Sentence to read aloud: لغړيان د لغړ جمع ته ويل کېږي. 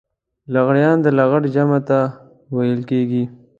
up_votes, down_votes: 2, 0